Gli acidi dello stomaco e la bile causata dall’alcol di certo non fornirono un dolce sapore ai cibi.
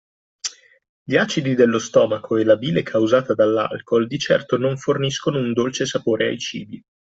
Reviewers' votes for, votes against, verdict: 1, 2, rejected